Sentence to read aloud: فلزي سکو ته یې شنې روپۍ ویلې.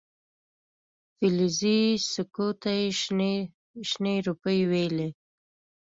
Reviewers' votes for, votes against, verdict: 2, 0, accepted